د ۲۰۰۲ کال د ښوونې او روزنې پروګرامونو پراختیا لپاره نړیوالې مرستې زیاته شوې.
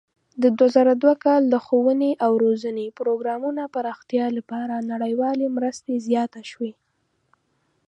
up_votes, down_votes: 0, 2